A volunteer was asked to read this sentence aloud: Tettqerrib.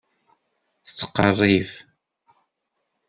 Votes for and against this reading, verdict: 2, 0, accepted